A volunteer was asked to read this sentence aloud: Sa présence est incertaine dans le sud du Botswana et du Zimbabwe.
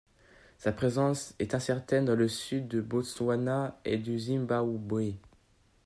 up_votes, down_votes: 1, 2